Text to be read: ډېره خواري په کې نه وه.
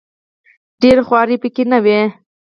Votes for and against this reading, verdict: 2, 4, rejected